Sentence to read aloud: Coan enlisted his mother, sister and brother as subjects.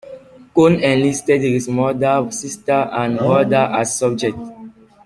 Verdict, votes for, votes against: rejected, 0, 2